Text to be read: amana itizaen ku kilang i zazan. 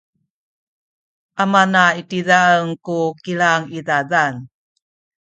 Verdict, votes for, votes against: rejected, 0, 2